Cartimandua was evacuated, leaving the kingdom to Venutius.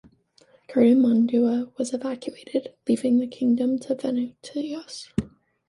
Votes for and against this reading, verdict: 1, 2, rejected